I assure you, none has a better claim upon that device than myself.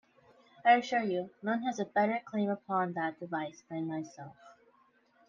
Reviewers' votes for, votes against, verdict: 2, 0, accepted